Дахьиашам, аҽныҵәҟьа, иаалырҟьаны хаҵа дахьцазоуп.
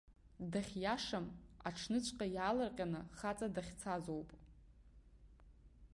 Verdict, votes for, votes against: accepted, 3, 0